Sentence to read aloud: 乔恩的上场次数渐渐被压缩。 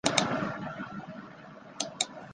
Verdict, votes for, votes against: rejected, 0, 2